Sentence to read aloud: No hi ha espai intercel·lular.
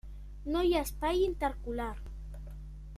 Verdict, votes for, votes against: rejected, 0, 2